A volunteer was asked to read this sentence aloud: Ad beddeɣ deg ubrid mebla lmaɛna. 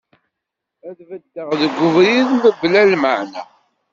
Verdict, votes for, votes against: accepted, 2, 1